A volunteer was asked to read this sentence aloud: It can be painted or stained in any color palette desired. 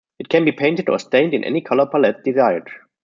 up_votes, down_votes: 2, 0